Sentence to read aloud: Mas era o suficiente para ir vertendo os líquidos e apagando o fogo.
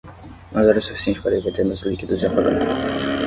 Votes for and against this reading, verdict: 5, 10, rejected